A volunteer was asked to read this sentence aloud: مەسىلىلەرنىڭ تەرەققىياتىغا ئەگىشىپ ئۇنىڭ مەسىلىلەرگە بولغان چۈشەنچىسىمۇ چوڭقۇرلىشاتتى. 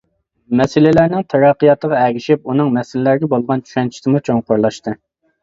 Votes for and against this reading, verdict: 1, 2, rejected